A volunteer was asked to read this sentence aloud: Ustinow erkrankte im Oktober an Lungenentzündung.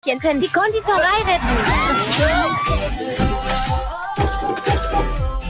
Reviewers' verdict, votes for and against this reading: rejected, 0, 2